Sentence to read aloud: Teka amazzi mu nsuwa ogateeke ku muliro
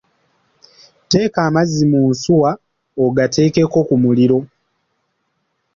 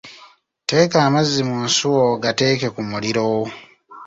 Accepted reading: second